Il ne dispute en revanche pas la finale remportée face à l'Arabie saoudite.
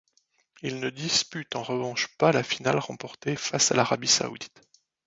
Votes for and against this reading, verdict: 2, 0, accepted